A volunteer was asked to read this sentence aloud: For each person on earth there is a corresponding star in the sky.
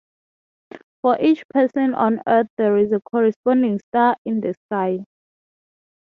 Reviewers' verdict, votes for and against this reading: accepted, 3, 0